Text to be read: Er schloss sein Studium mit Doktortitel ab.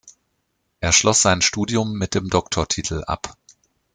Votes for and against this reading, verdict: 0, 2, rejected